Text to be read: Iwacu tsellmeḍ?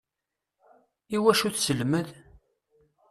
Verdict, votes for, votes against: rejected, 0, 2